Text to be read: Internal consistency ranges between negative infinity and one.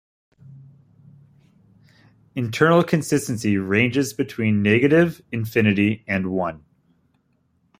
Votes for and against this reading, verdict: 1, 2, rejected